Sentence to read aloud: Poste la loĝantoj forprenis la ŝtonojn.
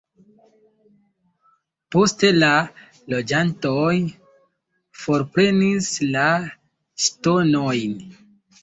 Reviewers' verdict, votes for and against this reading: rejected, 1, 2